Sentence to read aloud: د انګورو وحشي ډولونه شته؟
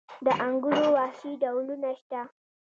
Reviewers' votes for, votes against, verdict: 2, 0, accepted